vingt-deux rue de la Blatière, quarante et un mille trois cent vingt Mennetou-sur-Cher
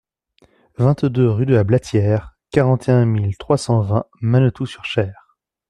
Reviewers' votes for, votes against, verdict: 2, 0, accepted